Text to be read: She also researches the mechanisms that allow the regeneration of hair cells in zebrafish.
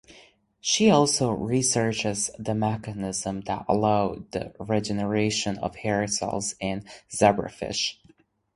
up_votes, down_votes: 0, 2